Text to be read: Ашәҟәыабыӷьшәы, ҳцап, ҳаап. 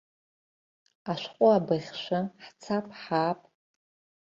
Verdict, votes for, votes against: accepted, 3, 0